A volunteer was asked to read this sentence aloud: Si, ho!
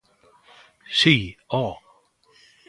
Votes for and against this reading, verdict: 2, 0, accepted